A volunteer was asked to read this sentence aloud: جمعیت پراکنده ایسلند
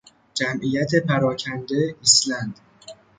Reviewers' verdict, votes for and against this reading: rejected, 0, 3